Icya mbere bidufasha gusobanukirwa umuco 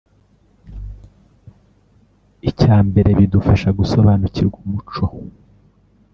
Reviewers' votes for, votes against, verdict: 2, 0, accepted